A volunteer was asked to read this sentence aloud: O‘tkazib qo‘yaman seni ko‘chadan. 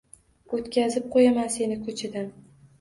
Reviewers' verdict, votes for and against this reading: accepted, 2, 0